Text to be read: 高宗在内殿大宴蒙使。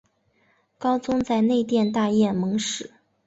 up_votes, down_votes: 2, 0